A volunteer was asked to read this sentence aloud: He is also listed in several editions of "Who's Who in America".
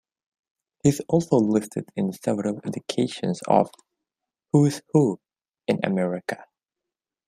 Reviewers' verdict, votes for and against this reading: rejected, 0, 2